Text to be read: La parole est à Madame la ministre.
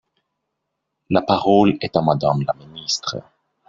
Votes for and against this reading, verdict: 1, 2, rejected